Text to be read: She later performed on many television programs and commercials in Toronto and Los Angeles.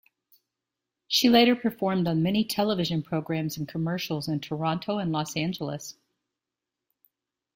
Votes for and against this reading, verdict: 2, 0, accepted